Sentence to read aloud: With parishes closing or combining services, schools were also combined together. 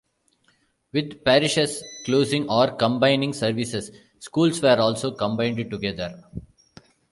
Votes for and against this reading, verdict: 2, 0, accepted